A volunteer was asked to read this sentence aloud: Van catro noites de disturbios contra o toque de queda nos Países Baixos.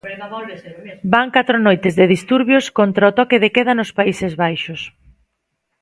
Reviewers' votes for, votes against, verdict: 0, 2, rejected